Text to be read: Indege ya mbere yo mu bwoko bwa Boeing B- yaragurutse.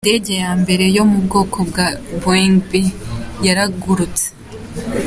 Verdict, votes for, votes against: accepted, 2, 0